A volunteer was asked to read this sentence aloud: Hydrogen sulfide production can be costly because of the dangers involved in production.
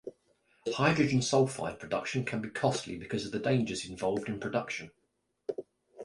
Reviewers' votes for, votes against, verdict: 3, 0, accepted